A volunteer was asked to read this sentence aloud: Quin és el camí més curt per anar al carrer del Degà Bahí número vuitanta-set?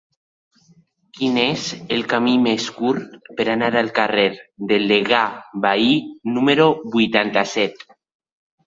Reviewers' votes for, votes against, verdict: 1, 2, rejected